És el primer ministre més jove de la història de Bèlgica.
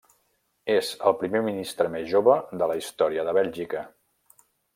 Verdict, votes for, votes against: accepted, 3, 0